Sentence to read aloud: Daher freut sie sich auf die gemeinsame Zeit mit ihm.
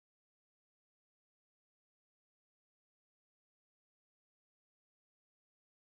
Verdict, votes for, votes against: rejected, 0, 4